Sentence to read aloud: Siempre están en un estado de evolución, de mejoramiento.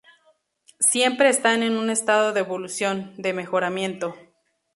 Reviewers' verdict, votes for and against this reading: accepted, 2, 0